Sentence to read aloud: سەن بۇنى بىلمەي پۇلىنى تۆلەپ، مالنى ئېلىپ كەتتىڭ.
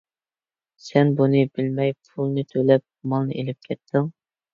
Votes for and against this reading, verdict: 2, 0, accepted